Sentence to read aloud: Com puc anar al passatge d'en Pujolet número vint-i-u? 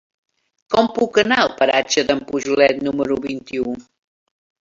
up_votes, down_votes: 0, 2